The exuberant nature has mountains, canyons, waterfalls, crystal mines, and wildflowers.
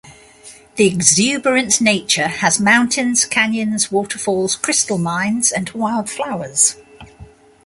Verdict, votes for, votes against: accepted, 2, 0